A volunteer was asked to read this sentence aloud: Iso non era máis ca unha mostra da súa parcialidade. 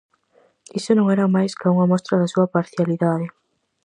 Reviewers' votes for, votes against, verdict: 4, 0, accepted